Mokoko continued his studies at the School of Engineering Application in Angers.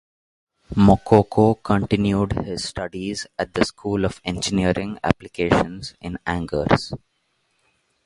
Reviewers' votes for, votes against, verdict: 0, 2, rejected